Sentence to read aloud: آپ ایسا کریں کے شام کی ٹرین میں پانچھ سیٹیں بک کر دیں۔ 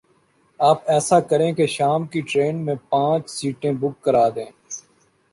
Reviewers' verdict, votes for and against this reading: rejected, 1, 2